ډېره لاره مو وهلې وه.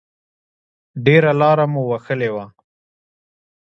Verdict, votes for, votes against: accepted, 2, 0